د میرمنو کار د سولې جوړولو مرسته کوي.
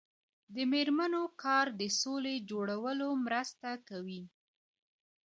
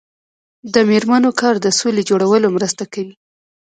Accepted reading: first